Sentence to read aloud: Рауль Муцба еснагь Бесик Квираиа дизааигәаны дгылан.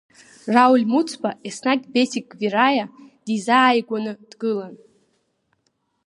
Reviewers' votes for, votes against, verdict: 5, 0, accepted